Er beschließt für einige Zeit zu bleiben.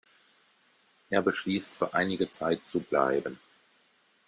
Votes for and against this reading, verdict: 2, 0, accepted